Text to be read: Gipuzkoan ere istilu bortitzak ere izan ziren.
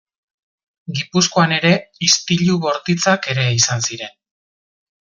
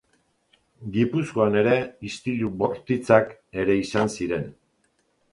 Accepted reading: first